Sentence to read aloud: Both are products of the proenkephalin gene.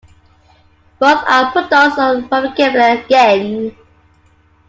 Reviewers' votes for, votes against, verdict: 1, 2, rejected